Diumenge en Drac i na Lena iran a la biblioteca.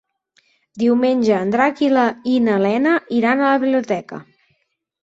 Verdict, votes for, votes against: rejected, 0, 4